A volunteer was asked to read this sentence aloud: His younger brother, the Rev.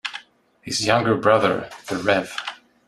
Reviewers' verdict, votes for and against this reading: accepted, 2, 0